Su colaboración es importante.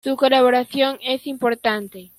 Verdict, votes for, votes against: accepted, 2, 0